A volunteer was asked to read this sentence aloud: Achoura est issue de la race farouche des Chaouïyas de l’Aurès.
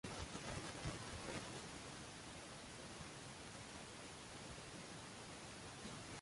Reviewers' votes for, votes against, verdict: 0, 2, rejected